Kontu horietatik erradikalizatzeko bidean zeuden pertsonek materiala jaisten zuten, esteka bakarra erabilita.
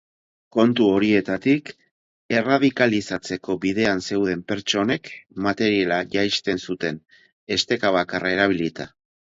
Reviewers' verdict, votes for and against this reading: accepted, 2, 0